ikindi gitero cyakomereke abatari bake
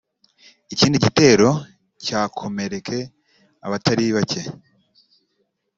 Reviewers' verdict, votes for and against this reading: accepted, 2, 0